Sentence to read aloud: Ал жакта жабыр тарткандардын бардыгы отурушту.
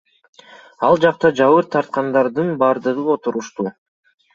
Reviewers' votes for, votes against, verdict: 2, 0, accepted